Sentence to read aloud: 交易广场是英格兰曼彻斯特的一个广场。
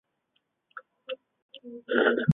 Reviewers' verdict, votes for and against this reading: rejected, 0, 3